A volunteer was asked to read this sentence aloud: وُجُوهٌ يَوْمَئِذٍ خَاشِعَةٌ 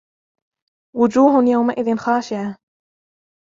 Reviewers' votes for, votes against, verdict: 0, 2, rejected